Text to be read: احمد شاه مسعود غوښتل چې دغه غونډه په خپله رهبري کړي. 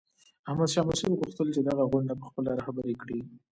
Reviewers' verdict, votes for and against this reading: accepted, 2, 0